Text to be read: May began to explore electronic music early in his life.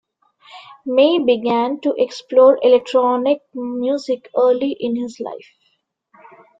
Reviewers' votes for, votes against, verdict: 0, 2, rejected